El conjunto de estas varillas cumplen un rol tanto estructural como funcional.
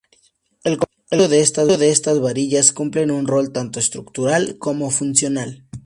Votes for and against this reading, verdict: 0, 2, rejected